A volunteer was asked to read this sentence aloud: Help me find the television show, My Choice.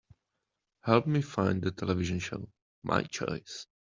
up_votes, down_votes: 2, 0